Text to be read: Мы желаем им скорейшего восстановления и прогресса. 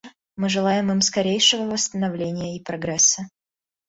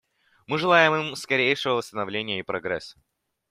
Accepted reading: second